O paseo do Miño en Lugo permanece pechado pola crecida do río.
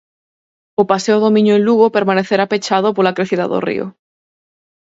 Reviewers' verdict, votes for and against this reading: rejected, 4, 6